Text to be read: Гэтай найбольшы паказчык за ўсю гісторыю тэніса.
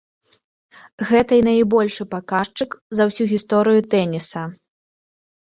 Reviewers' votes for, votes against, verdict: 2, 0, accepted